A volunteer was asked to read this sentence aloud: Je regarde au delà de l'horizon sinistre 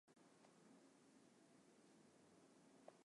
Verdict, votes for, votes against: rejected, 0, 2